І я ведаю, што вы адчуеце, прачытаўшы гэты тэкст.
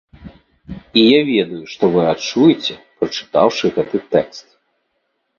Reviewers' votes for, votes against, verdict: 3, 0, accepted